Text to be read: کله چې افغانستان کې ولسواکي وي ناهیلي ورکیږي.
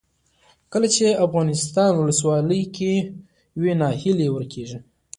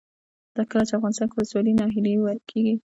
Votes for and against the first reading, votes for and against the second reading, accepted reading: 2, 1, 1, 2, first